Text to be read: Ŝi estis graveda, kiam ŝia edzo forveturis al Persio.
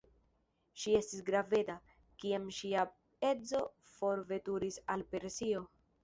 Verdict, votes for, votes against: accepted, 2, 1